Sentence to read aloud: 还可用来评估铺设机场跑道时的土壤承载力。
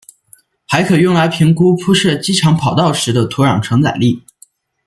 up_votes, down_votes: 2, 0